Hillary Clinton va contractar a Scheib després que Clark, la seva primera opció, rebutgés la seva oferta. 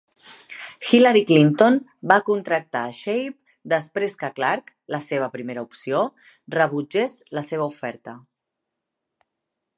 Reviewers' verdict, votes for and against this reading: accepted, 2, 0